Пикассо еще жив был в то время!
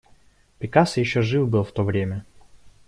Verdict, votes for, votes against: accepted, 2, 1